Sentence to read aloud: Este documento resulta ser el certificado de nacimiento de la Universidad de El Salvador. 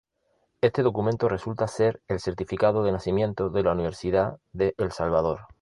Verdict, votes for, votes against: accepted, 2, 0